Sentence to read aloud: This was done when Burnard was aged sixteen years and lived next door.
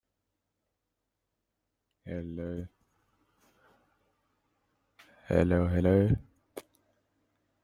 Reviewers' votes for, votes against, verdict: 0, 2, rejected